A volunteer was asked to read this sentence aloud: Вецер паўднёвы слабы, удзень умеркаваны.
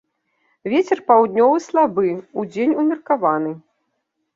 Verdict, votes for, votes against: accepted, 2, 0